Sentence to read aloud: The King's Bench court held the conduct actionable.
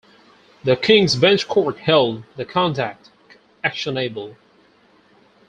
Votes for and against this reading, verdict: 2, 4, rejected